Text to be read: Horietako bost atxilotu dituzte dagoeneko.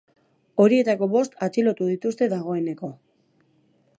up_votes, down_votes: 2, 0